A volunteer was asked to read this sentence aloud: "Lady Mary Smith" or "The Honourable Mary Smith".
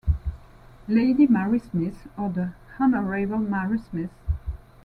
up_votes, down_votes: 2, 1